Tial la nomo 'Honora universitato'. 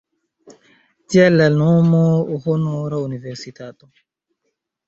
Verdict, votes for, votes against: rejected, 0, 2